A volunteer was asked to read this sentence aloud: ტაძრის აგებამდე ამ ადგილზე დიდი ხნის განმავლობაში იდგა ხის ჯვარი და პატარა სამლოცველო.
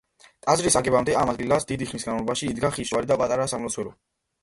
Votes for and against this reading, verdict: 0, 2, rejected